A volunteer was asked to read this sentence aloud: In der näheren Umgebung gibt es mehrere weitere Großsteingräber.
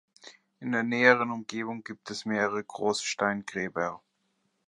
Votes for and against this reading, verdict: 0, 2, rejected